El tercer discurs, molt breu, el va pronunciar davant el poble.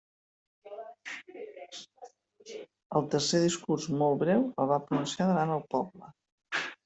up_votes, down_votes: 1, 2